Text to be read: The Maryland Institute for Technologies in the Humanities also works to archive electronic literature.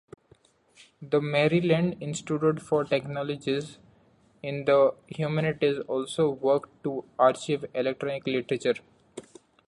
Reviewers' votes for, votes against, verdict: 1, 2, rejected